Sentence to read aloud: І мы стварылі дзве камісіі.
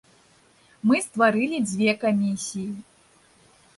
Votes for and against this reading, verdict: 1, 2, rejected